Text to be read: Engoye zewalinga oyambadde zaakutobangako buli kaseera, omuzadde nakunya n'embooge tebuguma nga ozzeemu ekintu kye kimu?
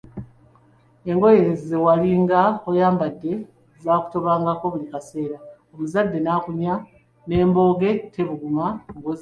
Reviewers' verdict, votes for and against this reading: rejected, 0, 2